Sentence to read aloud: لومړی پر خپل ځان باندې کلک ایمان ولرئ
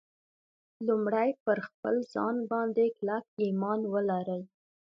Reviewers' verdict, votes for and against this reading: accepted, 2, 0